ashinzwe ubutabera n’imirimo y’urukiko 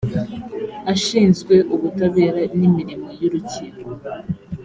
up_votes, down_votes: 3, 0